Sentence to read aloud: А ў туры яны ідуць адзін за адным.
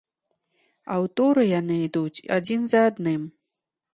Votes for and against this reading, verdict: 3, 0, accepted